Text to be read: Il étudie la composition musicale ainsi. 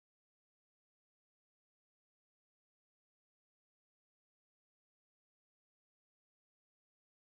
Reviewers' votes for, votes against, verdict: 0, 2, rejected